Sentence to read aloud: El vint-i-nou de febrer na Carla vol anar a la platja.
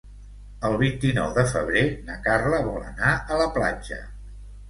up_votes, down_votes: 2, 0